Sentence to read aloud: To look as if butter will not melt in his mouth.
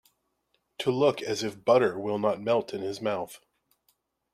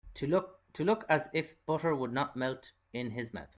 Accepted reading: first